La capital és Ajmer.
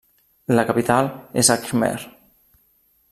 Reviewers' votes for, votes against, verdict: 2, 0, accepted